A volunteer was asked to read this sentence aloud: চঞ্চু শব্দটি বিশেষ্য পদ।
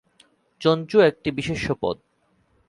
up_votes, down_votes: 5, 7